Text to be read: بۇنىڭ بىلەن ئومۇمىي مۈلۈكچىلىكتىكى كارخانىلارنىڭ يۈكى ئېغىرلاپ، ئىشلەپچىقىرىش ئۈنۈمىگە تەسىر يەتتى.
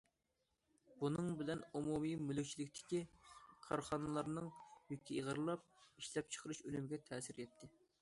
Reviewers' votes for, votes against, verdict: 2, 1, accepted